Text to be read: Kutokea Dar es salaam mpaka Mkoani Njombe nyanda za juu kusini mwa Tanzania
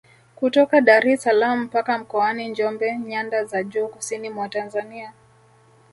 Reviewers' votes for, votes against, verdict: 1, 2, rejected